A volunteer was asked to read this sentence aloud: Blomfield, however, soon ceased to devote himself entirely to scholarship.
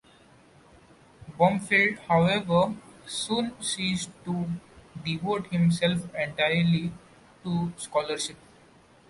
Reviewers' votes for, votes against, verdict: 2, 0, accepted